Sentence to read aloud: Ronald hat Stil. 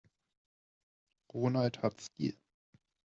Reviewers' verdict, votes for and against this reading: accepted, 2, 0